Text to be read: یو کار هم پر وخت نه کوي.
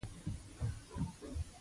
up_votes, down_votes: 0, 2